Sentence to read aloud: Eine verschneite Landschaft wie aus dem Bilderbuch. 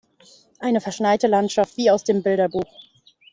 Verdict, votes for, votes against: accepted, 2, 1